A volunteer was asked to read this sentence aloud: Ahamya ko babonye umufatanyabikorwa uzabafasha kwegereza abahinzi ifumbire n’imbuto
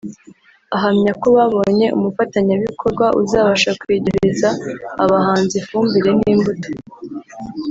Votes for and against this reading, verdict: 1, 2, rejected